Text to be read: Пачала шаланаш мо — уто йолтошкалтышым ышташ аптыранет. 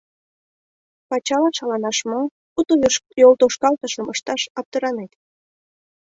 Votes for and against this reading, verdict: 0, 2, rejected